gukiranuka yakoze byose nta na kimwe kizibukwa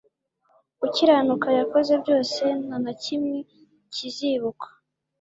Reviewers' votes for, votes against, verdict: 2, 0, accepted